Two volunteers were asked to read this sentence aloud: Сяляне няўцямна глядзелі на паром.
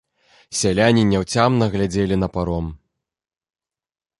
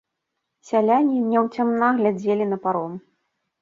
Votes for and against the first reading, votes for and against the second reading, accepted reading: 2, 0, 0, 2, first